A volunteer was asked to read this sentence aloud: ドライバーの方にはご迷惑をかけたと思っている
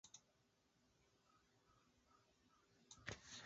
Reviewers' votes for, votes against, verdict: 0, 3, rejected